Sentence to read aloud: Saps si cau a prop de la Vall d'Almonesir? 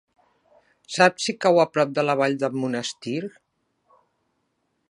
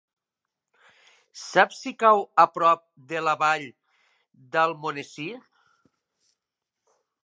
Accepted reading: second